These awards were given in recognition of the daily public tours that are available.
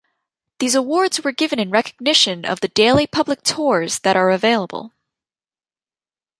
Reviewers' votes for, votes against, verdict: 2, 0, accepted